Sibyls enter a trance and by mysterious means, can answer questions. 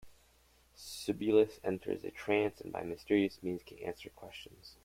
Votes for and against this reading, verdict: 2, 1, accepted